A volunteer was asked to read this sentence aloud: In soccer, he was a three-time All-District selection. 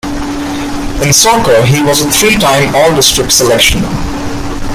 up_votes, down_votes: 1, 2